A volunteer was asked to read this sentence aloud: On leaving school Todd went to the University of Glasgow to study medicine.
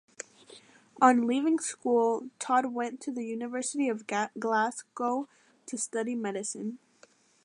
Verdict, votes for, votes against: rejected, 0, 2